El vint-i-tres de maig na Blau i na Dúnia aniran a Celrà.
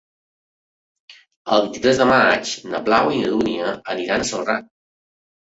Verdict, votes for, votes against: accepted, 2, 0